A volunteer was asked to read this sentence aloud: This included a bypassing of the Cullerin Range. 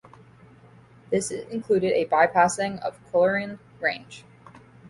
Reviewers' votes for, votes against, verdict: 0, 2, rejected